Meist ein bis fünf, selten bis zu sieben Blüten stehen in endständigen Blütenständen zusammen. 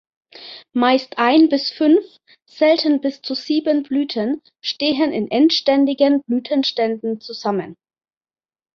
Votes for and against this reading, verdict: 3, 0, accepted